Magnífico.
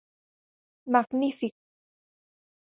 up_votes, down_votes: 0, 4